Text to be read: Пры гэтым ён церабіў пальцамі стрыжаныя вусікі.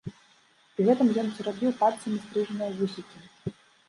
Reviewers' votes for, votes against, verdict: 2, 0, accepted